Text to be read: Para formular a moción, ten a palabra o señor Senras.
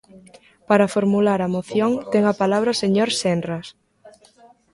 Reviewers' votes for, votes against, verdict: 1, 2, rejected